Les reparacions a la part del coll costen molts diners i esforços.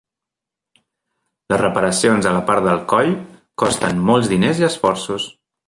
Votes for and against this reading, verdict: 1, 2, rejected